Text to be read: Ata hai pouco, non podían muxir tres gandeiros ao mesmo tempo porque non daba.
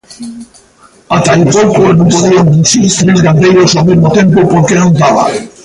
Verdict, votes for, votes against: rejected, 0, 2